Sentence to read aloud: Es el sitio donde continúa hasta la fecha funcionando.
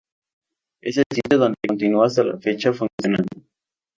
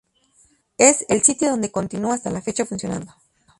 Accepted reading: second